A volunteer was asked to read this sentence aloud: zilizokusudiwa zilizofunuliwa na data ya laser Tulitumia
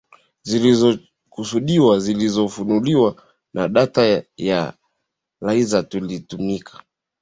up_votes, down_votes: 0, 2